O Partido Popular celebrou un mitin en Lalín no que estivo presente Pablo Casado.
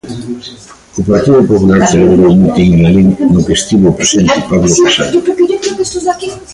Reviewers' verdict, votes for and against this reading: rejected, 0, 2